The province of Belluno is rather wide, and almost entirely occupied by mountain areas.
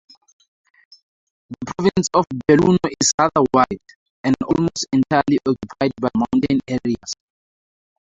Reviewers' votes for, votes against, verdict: 2, 0, accepted